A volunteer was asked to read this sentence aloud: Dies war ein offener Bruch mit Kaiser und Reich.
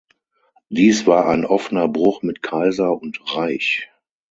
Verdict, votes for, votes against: accepted, 6, 0